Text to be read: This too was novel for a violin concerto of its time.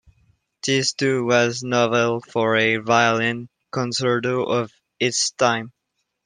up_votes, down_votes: 2, 1